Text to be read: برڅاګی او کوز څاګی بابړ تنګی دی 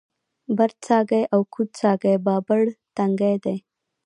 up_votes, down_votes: 3, 2